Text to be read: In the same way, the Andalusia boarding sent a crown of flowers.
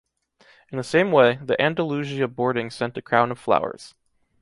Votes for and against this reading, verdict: 2, 0, accepted